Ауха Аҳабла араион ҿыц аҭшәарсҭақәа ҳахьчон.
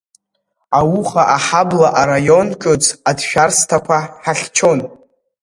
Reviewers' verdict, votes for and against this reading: rejected, 1, 2